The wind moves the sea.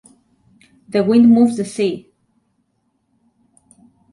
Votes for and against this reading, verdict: 2, 0, accepted